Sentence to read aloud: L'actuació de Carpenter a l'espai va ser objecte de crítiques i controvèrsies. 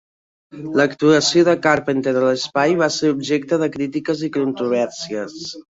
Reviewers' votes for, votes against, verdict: 3, 2, accepted